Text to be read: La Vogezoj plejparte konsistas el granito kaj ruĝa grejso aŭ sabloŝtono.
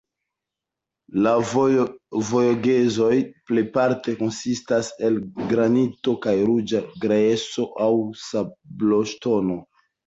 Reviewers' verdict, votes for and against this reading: accepted, 2, 1